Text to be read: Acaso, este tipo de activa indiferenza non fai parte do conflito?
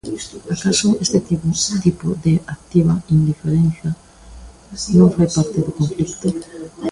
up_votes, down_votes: 0, 2